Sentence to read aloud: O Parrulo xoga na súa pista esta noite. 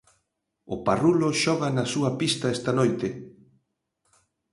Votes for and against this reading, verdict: 2, 0, accepted